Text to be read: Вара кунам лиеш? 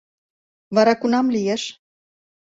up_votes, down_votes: 2, 0